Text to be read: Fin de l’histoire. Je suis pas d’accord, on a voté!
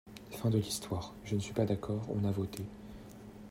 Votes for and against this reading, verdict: 1, 2, rejected